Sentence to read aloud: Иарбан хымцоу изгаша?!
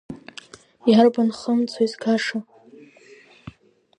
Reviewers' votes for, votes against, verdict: 2, 1, accepted